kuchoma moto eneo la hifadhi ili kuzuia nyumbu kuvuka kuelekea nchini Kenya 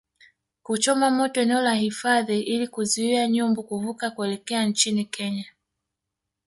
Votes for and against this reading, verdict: 0, 2, rejected